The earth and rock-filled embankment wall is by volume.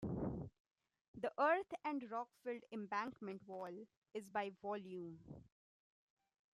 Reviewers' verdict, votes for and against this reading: rejected, 1, 2